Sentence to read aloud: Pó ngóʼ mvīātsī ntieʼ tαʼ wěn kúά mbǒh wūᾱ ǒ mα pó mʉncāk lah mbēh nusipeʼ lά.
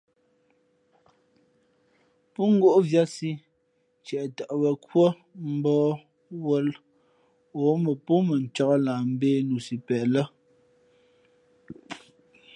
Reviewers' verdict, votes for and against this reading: accepted, 4, 0